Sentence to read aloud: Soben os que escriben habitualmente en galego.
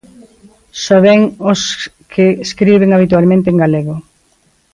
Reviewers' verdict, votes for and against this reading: accepted, 2, 1